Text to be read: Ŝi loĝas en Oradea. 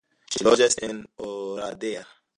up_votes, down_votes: 3, 1